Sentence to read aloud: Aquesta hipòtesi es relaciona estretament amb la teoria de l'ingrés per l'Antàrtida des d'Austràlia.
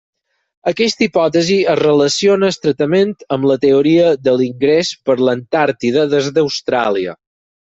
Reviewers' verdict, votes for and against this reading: accepted, 6, 0